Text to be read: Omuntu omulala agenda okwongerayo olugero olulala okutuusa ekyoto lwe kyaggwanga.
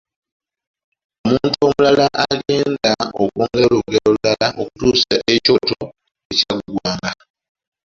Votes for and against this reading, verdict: 0, 2, rejected